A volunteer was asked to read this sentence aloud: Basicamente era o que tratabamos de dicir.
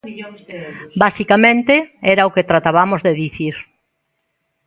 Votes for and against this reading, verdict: 2, 1, accepted